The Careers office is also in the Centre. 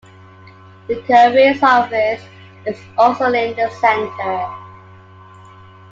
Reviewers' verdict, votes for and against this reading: accepted, 2, 1